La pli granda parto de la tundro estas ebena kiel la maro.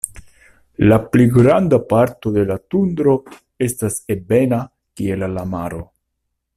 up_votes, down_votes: 2, 1